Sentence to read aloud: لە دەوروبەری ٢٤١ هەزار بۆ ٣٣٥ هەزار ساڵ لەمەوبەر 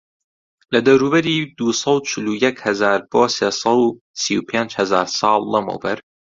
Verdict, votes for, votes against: rejected, 0, 2